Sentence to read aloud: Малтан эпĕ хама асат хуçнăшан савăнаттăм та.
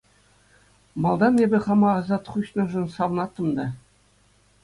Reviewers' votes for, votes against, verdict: 2, 0, accepted